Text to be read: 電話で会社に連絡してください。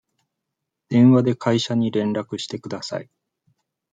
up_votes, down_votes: 2, 0